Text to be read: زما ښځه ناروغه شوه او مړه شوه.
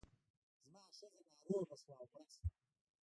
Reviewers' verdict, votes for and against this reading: rejected, 1, 2